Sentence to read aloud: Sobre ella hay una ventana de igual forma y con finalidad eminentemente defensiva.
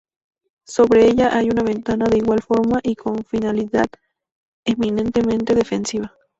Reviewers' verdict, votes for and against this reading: accepted, 2, 0